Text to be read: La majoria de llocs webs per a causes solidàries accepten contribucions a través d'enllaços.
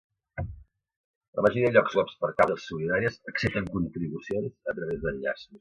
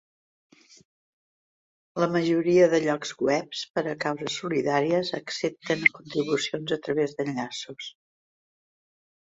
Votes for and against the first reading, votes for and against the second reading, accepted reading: 0, 2, 4, 0, second